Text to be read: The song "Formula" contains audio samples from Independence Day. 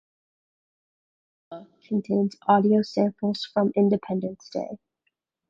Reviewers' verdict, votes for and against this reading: rejected, 0, 2